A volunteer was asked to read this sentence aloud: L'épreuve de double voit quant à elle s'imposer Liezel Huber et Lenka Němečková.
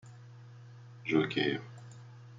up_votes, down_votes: 0, 2